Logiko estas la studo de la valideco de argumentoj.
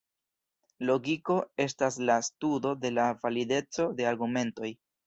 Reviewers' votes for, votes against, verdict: 2, 0, accepted